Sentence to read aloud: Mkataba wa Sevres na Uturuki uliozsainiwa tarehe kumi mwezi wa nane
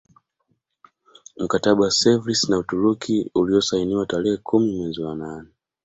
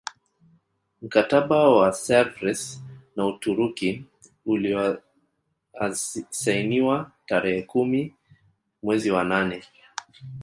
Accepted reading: first